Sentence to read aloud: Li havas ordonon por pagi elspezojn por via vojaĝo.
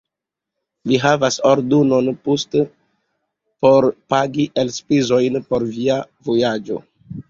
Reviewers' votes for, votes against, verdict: 1, 2, rejected